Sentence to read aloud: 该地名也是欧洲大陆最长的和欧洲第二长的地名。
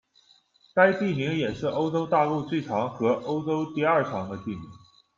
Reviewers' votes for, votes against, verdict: 1, 2, rejected